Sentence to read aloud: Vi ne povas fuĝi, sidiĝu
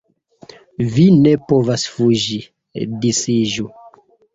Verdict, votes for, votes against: accepted, 2, 0